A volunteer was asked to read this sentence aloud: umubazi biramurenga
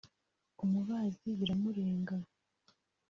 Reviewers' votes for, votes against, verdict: 2, 0, accepted